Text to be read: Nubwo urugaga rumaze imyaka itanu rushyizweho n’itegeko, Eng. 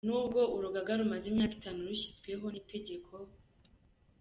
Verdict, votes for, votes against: accepted, 2, 0